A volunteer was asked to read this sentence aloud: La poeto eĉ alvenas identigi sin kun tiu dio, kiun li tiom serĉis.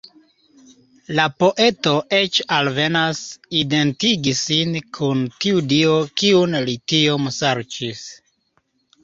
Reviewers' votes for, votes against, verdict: 2, 1, accepted